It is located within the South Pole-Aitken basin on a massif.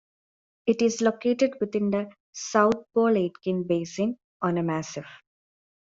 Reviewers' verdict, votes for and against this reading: accepted, 3, 0